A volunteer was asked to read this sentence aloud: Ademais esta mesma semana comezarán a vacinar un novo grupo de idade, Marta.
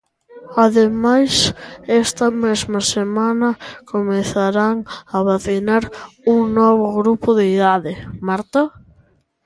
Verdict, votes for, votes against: rejected, 1, 2